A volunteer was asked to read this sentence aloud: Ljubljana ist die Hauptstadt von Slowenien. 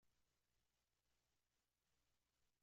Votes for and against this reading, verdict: 0, 2, rejected